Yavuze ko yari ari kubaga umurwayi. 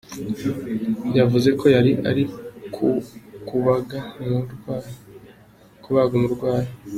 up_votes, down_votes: 0, 2